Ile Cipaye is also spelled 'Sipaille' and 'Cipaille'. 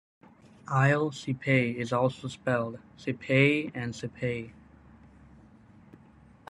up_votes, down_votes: 1, 2